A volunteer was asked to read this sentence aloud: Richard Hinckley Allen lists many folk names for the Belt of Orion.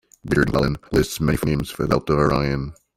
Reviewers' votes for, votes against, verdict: 0, 2, rejected